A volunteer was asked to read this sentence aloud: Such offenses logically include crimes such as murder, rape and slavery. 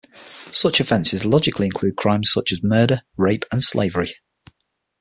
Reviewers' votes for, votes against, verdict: 6, 0, accepted